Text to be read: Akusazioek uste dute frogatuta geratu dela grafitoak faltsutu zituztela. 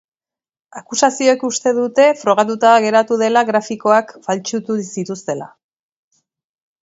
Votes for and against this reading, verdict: 2, 1, accepted